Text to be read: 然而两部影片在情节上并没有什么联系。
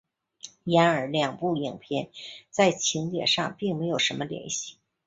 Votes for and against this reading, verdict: 3, 0, accepted